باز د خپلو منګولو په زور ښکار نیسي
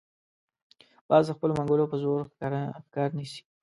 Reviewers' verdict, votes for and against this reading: rejected, 0, 2